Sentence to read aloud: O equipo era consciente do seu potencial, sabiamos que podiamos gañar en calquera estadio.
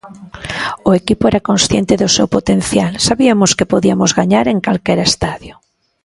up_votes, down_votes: 1, 2